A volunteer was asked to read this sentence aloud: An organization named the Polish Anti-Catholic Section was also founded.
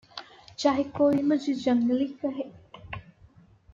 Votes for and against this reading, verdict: 0, 2, rejected